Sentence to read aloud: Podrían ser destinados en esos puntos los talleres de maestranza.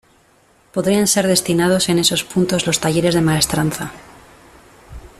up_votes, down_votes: 2, 0